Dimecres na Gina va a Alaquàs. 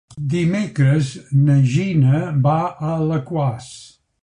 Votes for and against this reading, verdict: 3, 0, accepted